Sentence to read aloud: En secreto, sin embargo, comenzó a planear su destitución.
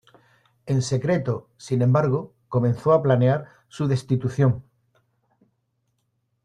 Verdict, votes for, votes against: accepted, 2, 0